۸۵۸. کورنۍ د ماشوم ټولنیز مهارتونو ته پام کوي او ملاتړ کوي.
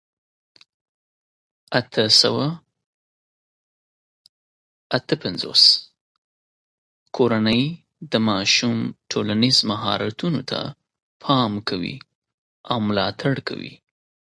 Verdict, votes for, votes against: rejected, 0, 2